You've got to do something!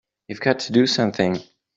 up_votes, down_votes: 2, 0